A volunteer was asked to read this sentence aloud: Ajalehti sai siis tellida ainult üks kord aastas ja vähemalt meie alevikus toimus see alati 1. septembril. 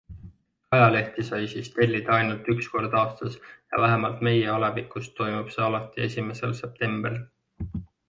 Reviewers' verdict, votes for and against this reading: rejected, 0, 2